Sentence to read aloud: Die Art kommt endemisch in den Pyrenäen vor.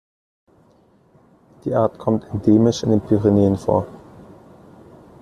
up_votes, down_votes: 2, 1